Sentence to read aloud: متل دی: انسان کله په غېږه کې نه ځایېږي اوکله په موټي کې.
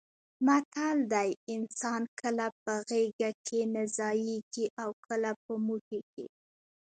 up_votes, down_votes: 0, 2